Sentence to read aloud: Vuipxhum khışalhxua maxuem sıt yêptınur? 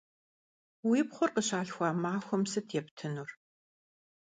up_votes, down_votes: 0, 2